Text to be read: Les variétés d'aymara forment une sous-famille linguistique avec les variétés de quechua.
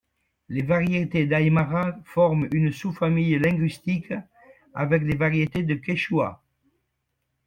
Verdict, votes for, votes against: accepted, 2, 0